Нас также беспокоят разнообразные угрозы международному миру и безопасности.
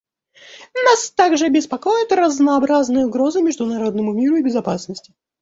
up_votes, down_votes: 1, 2